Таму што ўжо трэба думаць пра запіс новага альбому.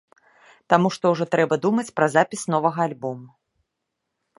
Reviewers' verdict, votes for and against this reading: accepted, 2, 0